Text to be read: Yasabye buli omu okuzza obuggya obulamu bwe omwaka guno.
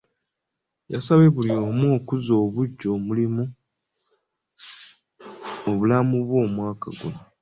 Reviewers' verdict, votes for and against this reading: rejected, 0, 2